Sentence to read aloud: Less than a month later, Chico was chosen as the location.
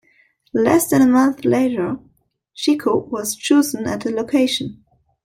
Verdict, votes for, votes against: rejected, 0, 2